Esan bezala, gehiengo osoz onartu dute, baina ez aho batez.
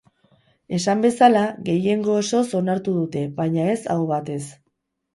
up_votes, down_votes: 2, 2